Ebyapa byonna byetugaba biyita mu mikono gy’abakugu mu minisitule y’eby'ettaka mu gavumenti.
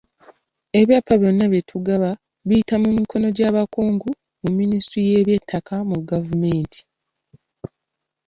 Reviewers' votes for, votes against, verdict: 1, 2, rejected